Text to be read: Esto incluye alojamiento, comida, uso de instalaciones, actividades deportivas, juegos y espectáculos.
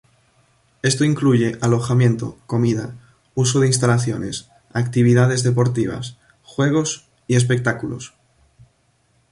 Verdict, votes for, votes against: accepted, 2, 0